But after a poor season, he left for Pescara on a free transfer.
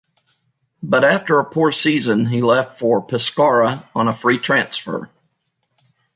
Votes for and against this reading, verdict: 2, 1, accepted